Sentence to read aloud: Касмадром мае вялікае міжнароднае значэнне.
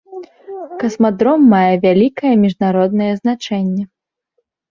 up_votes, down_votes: 2, 0